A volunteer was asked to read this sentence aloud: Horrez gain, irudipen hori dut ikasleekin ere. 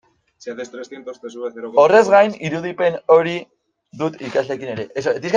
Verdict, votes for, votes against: rejected, 0, 2